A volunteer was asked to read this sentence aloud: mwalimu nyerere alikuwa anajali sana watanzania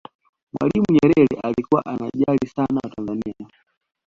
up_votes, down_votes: 1, 2